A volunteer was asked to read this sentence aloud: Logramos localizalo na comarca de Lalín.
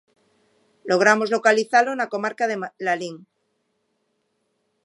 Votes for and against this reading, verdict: 0, 2, rejected